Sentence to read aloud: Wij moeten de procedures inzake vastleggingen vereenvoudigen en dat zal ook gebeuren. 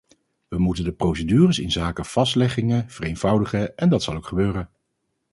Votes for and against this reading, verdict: 4, 0, accepted